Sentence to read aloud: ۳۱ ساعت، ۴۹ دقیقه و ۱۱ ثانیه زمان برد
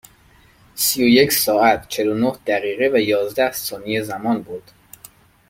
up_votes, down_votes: 0, 2